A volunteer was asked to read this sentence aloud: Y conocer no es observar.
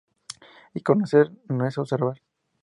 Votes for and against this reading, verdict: 2, 0, accepted